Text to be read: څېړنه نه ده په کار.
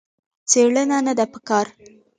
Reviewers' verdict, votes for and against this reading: rejected, 1, 2